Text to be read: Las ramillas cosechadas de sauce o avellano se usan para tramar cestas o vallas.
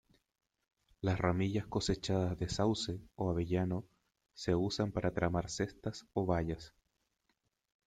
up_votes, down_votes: 2, 0